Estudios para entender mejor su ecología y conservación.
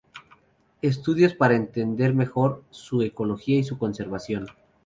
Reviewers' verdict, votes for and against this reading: rejected, 0, 2